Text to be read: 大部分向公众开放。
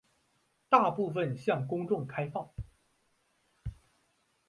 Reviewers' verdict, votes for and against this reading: accepted, 2, 0